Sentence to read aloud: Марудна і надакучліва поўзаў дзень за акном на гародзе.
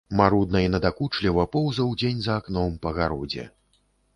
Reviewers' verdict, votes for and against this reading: rejected, 0, 2